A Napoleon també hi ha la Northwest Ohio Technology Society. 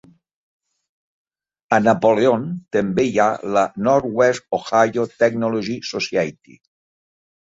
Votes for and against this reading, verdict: 2, 1, accepted